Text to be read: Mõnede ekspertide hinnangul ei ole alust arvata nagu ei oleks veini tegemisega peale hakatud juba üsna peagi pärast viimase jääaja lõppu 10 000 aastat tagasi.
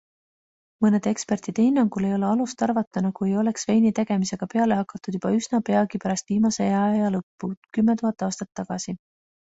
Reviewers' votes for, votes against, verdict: 0, 2, rejected